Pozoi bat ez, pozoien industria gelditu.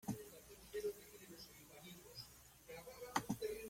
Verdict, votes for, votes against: rejected, 0, 2